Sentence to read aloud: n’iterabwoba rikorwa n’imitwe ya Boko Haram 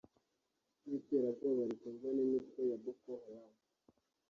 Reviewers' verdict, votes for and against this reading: accepted, 2, 1